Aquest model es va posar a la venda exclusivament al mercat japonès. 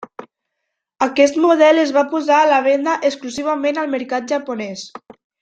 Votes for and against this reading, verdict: 3, 0, accepted